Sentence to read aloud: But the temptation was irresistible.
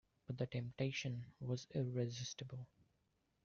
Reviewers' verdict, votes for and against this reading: accepted, 2, 0